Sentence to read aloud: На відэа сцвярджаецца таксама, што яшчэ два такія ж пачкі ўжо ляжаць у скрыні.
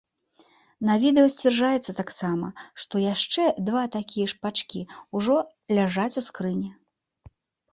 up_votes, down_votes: 2, 1